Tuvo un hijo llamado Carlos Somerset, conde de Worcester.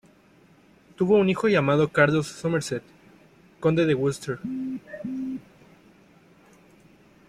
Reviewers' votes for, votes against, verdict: 0, 2, rejected